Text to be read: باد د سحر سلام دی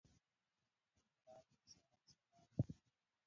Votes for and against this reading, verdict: 0, 2, rejected